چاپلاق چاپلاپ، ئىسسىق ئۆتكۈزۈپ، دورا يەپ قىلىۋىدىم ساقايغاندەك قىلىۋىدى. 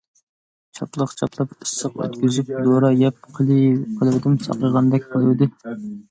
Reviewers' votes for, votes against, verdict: 0, 2, rejected